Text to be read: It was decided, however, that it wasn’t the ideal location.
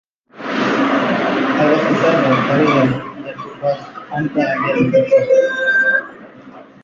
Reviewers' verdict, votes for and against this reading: rejected, 0, 2